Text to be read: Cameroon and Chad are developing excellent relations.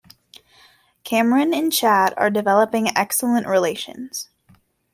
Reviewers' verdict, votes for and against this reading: rejected, 0, 2